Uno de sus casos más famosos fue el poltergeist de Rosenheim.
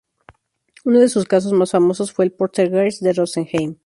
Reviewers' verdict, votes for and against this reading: accepted, 6, 0